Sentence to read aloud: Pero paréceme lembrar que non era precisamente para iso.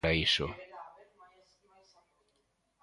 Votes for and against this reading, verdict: 0, 2, rejected